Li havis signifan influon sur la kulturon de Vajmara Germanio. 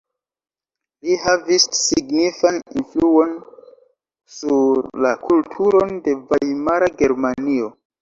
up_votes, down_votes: 1, 2